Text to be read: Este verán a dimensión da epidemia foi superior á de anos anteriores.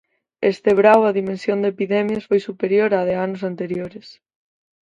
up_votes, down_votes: 2, 4